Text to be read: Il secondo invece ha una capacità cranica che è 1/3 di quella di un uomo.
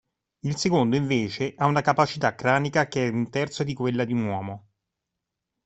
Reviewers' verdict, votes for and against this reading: rejected, 0, 2